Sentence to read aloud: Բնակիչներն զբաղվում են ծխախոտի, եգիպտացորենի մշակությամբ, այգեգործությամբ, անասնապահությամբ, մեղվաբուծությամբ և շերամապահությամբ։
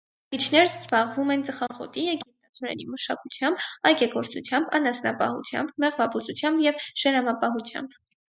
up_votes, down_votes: 2, 4